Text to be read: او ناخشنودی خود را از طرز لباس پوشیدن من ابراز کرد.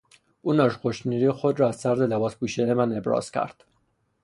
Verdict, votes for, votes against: rejected, 0, 3